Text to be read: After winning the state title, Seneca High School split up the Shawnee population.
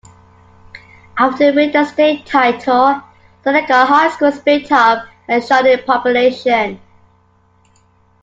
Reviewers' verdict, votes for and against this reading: rejected, 0, 2